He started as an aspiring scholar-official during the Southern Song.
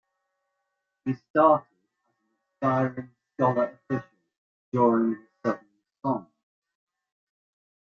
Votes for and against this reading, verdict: 0, 2, rejected